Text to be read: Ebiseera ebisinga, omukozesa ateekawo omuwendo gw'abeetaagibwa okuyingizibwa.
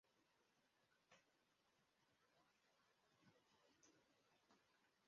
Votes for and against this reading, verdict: 0, 2, rejected